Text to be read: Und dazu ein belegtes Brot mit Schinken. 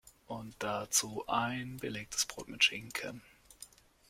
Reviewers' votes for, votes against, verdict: 1, 2, rejected